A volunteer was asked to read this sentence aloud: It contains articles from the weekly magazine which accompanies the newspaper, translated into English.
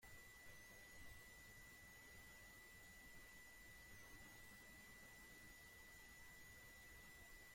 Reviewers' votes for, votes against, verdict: 0, 2, rejected